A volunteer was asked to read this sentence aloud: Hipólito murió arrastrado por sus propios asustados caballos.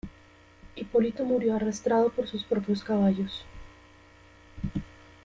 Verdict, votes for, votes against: rejected, 0, 2